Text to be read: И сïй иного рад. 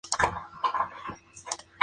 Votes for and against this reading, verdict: 0, 4, rejected